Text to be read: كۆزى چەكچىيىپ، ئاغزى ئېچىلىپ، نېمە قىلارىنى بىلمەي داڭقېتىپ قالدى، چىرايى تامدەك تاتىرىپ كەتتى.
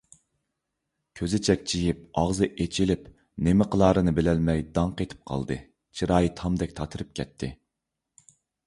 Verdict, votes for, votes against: rejected, 0, 2